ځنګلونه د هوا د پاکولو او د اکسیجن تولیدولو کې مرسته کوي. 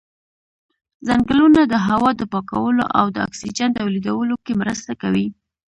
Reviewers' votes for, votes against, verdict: 2, 0, accepted